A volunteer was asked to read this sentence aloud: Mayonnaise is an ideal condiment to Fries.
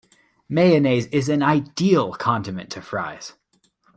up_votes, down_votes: 2, 0